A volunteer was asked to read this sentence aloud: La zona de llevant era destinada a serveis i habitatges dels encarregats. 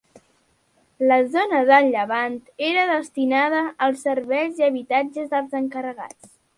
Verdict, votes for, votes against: accepted, 2, 1